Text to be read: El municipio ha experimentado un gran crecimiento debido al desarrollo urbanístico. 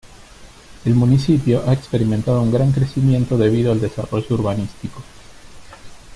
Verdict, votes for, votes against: rejected, 1, 2